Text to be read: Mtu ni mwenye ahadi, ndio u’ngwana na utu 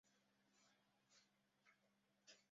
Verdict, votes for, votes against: rejected, 0, 2